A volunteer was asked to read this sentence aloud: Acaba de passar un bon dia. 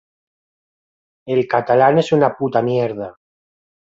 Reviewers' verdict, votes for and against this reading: rejected, 0, 2